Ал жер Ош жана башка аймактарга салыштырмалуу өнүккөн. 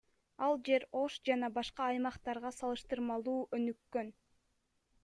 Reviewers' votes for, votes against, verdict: 2, 1, accepted